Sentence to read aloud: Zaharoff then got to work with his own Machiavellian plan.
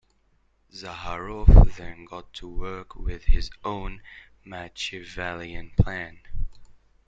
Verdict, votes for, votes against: rejected, 1, 2